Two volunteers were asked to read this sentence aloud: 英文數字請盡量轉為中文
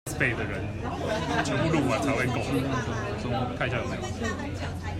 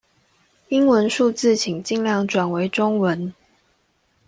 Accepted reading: second